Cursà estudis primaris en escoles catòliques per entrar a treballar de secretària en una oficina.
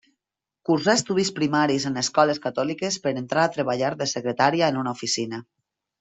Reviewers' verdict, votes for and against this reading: accepted, 3, 0